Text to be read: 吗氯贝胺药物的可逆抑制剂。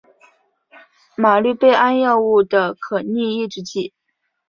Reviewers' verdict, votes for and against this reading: rejected, 2, 3